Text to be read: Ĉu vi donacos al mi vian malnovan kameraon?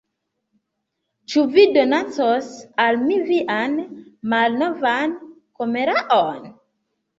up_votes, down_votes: 0, 2